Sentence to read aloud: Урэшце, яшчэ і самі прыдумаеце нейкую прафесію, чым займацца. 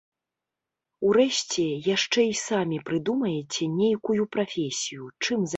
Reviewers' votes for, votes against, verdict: 1, 2, rejected